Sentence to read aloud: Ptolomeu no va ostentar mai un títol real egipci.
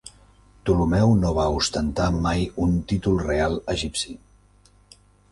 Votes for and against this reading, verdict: 2, 0, accepted